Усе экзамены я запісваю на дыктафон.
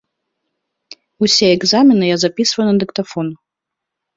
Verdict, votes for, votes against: accepted, 2, 0